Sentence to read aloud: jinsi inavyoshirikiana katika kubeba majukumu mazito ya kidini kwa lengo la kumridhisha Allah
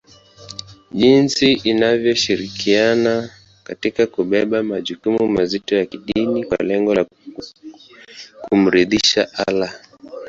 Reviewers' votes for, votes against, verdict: 3, 1, accepted